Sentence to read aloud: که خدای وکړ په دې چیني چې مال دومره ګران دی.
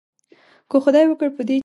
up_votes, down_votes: 1, 2